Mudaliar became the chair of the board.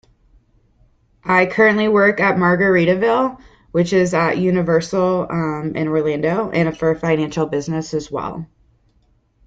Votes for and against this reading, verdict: 0, 2, rejected